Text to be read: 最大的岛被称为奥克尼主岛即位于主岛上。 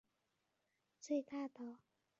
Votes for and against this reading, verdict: 0, 2, rejected